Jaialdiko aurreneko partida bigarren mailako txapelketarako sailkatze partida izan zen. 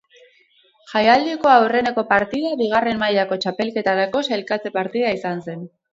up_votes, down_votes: 2, 2